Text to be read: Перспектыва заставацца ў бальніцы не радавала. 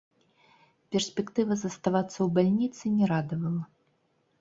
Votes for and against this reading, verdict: 0, 3, rejected